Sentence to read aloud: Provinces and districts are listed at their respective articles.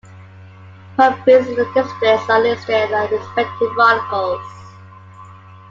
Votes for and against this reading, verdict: 1, 3, rejected